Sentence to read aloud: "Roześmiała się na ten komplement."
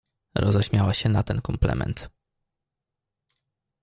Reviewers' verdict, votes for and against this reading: accepted, 2, 0